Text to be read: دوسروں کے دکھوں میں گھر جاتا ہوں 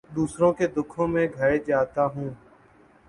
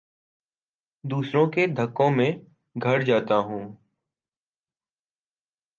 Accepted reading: first